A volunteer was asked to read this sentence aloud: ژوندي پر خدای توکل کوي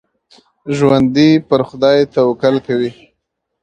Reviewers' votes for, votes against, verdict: 2, 1, accepted